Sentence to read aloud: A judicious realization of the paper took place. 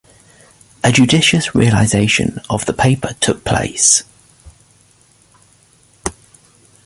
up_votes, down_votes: 3, 0